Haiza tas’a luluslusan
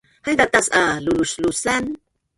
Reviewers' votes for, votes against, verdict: 1, 2, rejected